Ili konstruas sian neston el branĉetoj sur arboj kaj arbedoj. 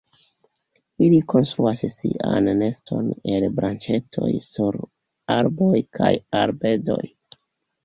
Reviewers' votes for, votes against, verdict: 2, 1, accepted